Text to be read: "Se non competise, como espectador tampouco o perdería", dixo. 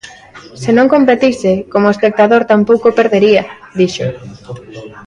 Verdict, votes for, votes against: accepted, 2, 1